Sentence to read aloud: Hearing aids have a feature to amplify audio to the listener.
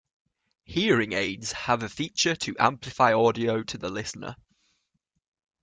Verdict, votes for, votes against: accepted, 2, 0